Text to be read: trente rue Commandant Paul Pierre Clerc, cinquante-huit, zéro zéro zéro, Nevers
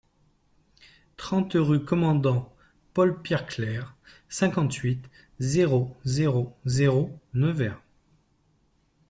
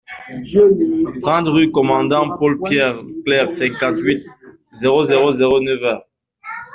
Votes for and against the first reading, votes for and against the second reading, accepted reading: 2, 0, 1, 2, first